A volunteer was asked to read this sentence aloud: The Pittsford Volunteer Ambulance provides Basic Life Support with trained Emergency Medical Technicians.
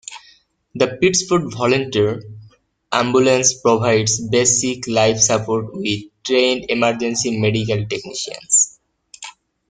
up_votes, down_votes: 2, 1